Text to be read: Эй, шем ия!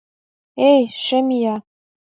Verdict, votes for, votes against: accepted, 2, 0